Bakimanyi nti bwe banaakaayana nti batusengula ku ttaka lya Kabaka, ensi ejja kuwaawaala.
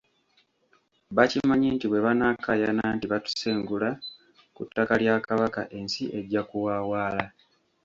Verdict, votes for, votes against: rejected, 1, 2